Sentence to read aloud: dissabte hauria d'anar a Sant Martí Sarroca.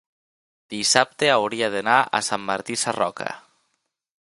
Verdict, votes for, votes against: accepted, 3, 0